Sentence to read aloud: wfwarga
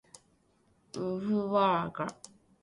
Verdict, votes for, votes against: rejected, 0, 2